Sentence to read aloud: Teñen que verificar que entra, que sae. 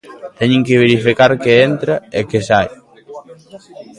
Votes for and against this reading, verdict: 1, 2, rejected